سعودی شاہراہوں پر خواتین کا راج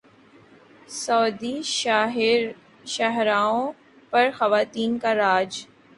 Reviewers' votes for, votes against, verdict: 2, 0, accepted